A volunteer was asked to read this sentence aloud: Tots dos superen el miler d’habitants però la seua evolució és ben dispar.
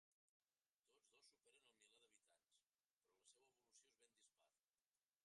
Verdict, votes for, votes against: rejected, 1, 2